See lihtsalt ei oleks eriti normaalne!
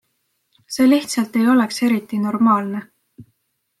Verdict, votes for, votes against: accepted, 2, 0